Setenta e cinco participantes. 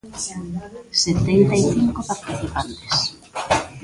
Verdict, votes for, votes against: rejected, 0, 2